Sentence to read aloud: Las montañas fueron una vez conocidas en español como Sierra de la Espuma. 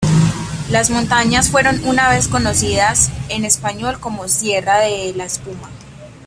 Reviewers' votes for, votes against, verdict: 2, 0, accepted